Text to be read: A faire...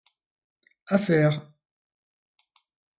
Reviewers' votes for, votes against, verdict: 2, 0, accepted